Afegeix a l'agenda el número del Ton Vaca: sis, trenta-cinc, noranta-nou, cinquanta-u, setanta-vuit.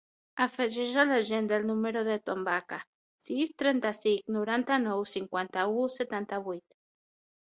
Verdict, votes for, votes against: accepted, 6, 0